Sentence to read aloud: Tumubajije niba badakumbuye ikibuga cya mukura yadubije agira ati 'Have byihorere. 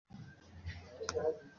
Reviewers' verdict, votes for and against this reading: rejected, 0, 2